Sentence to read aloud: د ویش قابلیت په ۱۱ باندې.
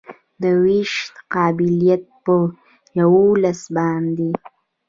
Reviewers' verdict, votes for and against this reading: rejected, 0, 2